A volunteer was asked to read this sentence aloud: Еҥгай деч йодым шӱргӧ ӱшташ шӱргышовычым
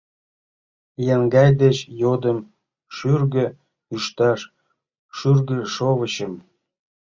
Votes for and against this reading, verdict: 2, 0, accepted